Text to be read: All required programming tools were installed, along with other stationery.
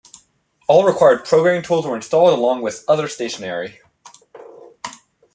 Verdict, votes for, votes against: accepted, 3, 0